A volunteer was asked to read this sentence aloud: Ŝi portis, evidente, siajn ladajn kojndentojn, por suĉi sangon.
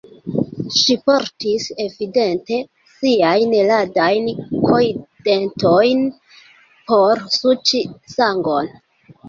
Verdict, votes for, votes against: rejected, 1, 2